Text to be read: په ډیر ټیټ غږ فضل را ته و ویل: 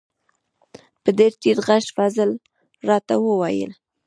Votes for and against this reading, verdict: 1, 2, rejected